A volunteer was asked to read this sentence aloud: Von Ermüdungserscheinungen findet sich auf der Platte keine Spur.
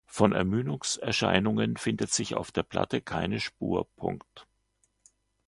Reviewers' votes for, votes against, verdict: 0, 2, rejected